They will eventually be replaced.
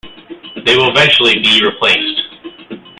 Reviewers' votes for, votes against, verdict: 2, 1, accepted